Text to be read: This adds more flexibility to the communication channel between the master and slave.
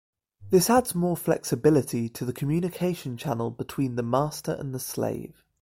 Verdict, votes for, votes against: rejected, 1, 2